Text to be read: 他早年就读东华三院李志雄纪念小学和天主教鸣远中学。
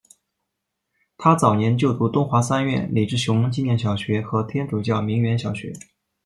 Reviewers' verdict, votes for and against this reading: rejected, 0, 2